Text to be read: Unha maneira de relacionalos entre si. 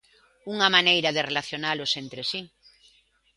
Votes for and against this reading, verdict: 2, 0, accepted